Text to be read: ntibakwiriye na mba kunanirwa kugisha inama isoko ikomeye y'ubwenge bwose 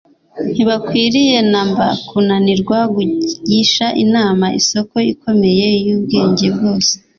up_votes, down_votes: 2, 0